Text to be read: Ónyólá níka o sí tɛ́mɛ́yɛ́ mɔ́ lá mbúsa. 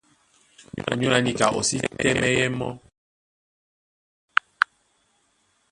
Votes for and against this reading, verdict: 0, 2, rejected